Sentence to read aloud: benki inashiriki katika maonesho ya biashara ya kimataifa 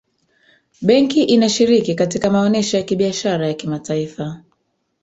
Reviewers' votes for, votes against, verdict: 2, 3, rejected